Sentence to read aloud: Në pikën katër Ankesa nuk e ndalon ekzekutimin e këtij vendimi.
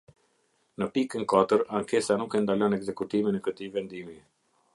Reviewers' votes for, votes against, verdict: 2, 0, accepted